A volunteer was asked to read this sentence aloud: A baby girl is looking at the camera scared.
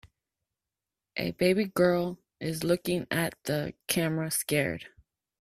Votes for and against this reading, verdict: 3, 1, accepted